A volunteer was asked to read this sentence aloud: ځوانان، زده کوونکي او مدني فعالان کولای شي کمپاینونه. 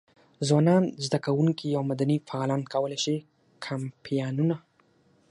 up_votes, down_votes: 6, 0